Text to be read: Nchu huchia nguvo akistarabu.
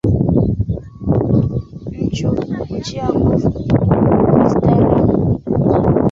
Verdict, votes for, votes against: rejected, 1, 2